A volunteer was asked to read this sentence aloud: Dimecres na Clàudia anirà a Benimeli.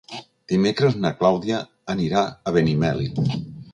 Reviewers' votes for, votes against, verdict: 3, 0, accepted